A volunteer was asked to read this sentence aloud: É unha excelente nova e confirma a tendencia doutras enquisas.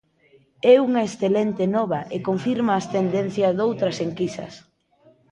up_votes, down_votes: 0, 2